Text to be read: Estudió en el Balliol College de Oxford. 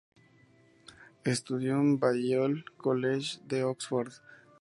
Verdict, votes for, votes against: rejected, 2, 2